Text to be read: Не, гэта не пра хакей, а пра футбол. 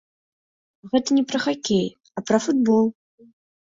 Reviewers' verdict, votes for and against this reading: rejected, 1, 2